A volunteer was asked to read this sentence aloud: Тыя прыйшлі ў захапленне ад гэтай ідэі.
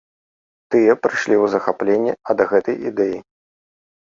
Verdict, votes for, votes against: accepted, 3, 0